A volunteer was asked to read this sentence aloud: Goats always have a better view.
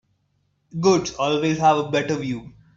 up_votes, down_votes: 3, 2